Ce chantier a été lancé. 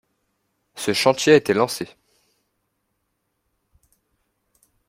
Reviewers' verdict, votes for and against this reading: accepted, 2, 0